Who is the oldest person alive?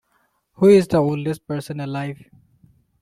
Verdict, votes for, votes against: rejected, 0, 2